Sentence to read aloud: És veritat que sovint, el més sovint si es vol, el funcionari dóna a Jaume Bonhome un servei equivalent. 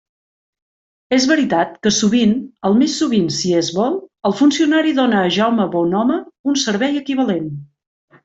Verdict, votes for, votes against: accepted, 2, 0